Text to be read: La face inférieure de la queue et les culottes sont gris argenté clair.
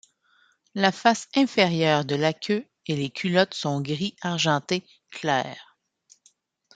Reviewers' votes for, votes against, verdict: 2, 0, accepted